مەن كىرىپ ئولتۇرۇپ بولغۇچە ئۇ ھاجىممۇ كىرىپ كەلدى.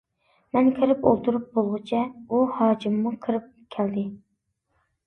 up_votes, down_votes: 2, 0